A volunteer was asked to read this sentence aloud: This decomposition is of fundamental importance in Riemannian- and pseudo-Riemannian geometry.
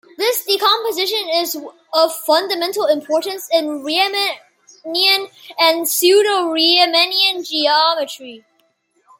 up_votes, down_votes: 0, 2